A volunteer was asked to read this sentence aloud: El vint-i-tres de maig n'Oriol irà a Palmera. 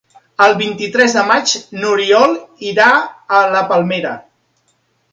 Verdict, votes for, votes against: rejected, 0, 2